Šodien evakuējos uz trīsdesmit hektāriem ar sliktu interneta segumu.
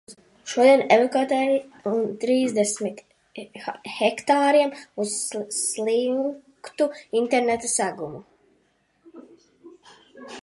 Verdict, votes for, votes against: rejected, 0, 2